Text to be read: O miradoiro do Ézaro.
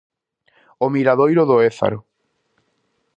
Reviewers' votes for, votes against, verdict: 2, 0, accepted